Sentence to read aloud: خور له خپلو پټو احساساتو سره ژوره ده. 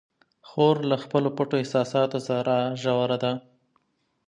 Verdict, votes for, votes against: accepted, 2, 0